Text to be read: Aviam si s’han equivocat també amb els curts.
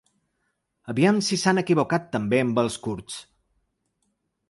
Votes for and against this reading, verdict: 2, 0, accepted